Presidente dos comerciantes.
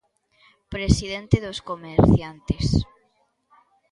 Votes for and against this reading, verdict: 3, 0, accepted